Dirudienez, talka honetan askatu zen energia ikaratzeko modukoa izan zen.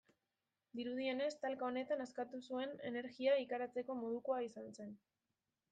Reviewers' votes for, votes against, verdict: 0, 2, rejected